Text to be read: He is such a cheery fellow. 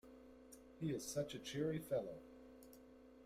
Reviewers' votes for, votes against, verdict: 0, 2, rejected